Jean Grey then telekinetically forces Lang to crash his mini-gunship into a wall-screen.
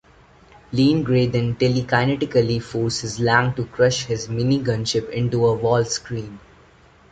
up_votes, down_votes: 2, 1